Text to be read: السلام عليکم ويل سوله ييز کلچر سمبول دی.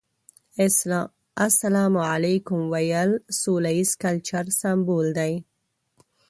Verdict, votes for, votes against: rejected, 1, 2